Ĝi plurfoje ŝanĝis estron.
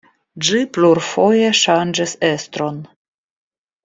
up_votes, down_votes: 2, 0